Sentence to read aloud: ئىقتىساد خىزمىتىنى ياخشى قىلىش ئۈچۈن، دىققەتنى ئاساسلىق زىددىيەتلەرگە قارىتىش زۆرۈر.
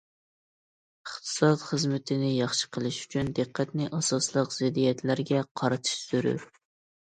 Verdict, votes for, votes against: accepted, 2, 0